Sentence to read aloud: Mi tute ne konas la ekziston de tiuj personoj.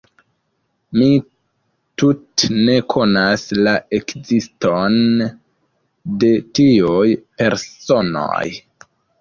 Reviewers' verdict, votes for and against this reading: accepted, 2, 0